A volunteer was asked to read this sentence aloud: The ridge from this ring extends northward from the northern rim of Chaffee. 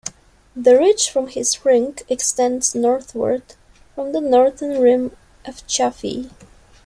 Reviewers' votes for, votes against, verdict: 0, 2, rejected